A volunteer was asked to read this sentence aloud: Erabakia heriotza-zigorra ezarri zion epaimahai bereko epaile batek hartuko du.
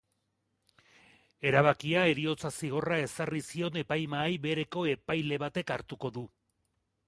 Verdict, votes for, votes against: accepted, 5, 0